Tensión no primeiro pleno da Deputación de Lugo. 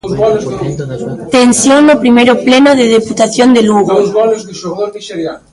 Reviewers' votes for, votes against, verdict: 0, 2, rejected